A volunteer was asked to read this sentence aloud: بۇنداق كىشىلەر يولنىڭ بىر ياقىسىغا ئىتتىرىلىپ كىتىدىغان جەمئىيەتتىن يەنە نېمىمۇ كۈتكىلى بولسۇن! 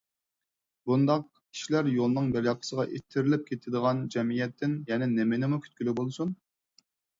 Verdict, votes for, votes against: accepted, 4, 0